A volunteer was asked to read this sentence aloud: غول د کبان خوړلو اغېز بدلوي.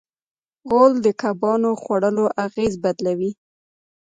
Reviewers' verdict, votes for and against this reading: accepted, 2, 0